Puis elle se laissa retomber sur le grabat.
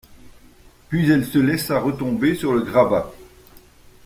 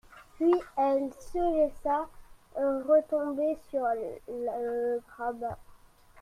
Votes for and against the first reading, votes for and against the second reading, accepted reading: 2, 0, 1, 2, first